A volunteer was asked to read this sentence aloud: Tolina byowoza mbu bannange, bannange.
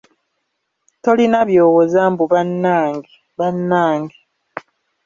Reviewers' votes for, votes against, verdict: 1, 2, rejected